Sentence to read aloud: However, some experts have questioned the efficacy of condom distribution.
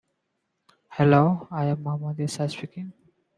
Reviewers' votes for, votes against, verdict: 0, 2, rejected